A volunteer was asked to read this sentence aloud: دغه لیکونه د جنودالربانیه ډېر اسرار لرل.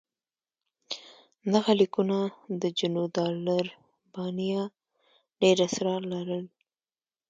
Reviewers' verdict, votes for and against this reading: accepted, 2, 0